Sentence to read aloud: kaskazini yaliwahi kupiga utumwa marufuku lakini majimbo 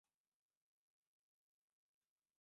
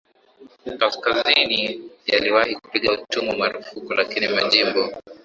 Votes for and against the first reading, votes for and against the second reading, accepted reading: 0, 2, 2, 0, second